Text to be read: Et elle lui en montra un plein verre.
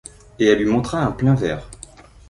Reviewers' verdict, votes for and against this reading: rejected, 1, 2